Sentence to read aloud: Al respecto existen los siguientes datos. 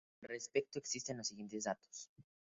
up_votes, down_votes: 4, 0